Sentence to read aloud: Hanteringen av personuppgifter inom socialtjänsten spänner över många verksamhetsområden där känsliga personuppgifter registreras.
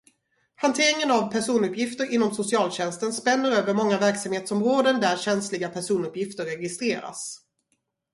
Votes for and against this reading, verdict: 0, 2, rejected